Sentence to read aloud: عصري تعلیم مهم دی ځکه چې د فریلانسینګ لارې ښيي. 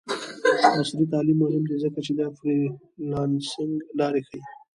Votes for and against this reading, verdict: 1, 2, rejected